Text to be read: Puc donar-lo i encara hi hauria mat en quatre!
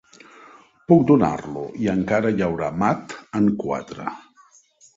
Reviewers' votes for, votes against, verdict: 2, 0, accepted